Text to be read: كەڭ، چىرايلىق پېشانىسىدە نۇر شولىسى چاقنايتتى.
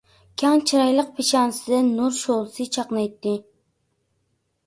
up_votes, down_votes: 0, 2